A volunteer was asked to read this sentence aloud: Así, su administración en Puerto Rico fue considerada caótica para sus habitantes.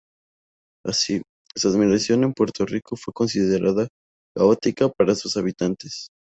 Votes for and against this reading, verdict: 2, 0, accepted